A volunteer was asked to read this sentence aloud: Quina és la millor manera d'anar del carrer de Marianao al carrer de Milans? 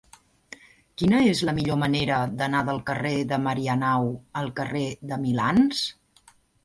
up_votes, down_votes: 2, 0